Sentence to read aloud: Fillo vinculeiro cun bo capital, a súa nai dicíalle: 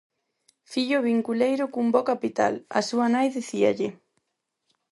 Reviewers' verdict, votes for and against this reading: accepted, 4, 2